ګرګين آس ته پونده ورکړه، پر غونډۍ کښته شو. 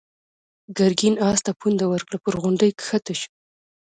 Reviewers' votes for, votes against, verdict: 1, 2, rejected